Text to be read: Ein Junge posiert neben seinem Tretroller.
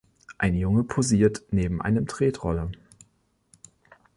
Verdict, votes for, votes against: rejected, 0, 2